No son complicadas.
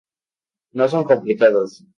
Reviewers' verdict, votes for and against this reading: rejected, 0, 2